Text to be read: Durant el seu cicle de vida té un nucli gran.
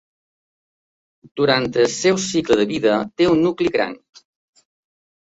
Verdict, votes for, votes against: accepted, 2, 0